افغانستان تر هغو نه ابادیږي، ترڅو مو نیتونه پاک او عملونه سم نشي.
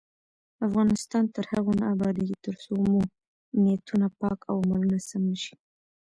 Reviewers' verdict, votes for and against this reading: rejected, 1, 2